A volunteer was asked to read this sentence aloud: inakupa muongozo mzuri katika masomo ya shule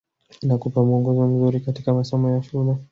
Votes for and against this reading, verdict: 2, 0, accepted